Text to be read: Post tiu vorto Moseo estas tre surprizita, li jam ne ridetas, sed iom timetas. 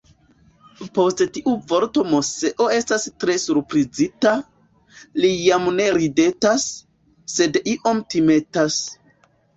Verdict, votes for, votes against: accepted, 2, 0